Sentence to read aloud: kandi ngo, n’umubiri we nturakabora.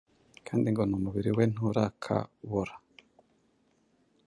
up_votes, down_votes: 2, 0